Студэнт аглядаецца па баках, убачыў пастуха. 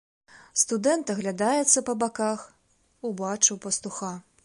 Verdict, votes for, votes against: accepted, 2, 0